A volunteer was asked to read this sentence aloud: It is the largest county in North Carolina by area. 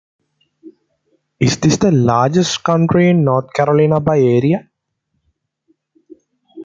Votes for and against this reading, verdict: 0, 2, rejected